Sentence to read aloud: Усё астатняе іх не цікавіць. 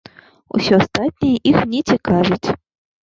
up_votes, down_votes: 1, 2